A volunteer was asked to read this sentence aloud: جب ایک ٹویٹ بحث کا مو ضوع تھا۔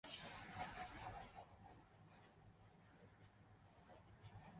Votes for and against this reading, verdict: 0, 2, rejected